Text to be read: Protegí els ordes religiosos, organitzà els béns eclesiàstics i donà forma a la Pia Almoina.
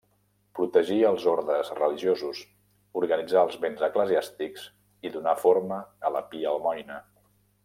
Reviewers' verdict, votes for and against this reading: accepted, 2, 0